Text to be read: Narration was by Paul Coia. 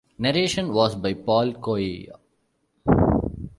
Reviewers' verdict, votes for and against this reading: accepted, 2, 0